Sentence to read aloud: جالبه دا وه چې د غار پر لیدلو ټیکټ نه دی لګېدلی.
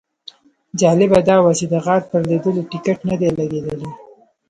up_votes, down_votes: 1, 2